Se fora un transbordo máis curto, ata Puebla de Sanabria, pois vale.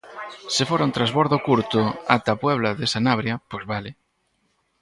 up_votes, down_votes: 0, 4